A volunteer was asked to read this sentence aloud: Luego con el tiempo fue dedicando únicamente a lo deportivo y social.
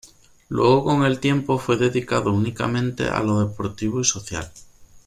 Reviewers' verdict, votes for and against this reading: rejected, 1, 2